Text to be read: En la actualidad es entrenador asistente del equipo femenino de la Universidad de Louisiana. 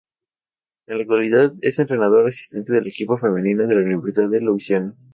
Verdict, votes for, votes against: rejected, 0, 2